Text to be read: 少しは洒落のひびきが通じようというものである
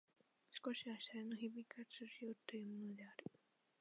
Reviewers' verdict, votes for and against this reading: rejected, 0, 2